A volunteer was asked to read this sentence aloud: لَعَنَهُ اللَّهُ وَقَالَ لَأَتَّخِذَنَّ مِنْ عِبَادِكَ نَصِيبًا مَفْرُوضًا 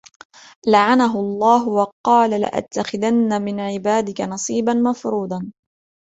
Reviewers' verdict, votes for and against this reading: accepted, 2, 0